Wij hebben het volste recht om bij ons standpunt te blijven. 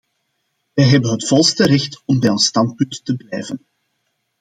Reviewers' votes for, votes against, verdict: 2, 0, accepted